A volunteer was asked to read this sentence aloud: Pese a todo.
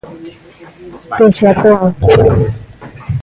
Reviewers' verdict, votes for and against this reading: rejected, 1, 2